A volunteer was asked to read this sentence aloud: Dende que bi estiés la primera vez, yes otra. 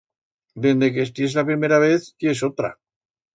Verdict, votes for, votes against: rejected, 1, 2